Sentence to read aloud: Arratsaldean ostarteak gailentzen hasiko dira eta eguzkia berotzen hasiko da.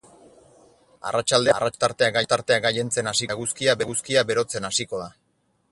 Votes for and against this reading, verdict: 0, 4, rejected